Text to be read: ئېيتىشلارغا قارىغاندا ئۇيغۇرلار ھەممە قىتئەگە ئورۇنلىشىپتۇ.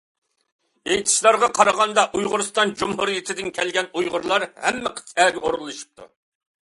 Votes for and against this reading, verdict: 0, 2, rejected